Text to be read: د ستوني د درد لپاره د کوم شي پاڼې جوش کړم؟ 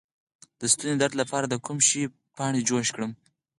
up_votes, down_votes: 4, 0